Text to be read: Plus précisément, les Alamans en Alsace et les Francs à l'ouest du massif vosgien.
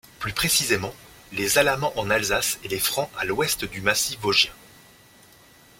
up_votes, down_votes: 2, 0